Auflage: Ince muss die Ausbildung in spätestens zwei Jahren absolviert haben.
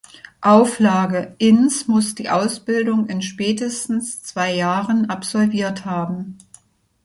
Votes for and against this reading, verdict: 2, 0, accepted